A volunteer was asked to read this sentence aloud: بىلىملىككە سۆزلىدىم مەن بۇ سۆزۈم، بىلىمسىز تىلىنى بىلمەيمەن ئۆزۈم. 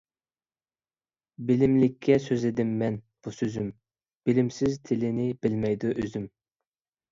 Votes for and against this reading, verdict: 0, 2, rejected